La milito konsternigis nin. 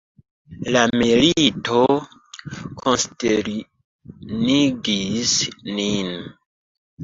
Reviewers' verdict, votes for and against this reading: rejected, 0, 2